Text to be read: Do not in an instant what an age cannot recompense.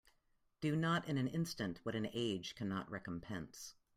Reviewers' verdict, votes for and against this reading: accepted, 2, 0